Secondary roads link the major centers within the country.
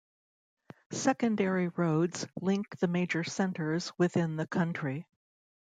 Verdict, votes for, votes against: accepted, 2, 0